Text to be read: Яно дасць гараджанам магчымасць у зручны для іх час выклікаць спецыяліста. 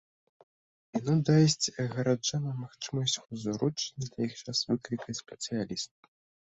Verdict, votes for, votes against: rejected, 0, 2